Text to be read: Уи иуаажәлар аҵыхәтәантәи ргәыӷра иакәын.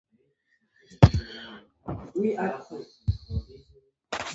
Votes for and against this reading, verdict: 1, 2, rejected